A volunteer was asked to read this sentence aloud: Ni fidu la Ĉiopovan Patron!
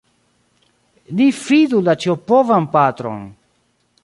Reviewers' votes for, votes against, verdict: 2, 0, accepted